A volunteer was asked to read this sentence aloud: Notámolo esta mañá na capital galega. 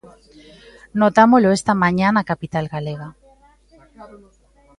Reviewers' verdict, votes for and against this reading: rejected, 0, 2